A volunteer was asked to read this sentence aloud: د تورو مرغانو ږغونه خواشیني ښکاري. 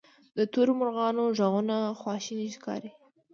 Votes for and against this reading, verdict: 2, 0, accepted